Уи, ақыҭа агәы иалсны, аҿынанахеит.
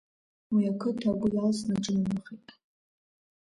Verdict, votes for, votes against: rejected, 0, 2